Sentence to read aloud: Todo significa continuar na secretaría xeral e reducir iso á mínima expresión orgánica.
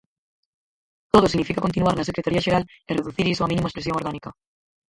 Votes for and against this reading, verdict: 0, 4, rejected